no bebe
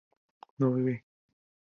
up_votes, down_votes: 4, 0